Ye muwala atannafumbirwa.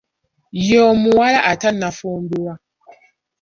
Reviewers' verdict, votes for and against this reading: rejected, 0, 2